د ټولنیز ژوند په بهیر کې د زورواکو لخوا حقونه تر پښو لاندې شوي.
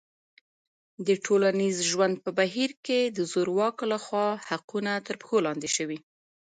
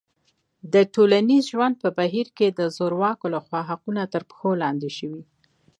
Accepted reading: second